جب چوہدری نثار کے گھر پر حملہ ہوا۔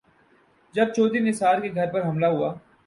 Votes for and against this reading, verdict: 0, 2, rejected